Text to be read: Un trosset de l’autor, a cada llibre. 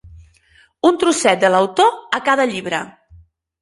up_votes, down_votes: 4, 0